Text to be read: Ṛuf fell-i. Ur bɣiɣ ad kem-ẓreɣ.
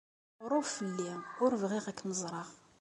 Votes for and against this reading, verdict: 2, 0, accepted